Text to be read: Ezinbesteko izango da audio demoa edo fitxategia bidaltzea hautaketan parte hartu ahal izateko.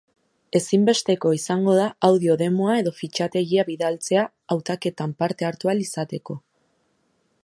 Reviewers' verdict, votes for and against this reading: accepted, 2, 0